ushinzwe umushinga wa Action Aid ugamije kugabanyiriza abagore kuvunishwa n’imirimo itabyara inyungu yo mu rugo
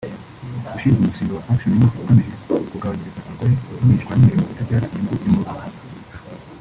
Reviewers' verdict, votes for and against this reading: rejected, 0, 2